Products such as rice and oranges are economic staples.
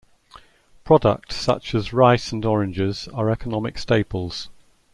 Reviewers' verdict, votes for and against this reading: accepted, 2, 0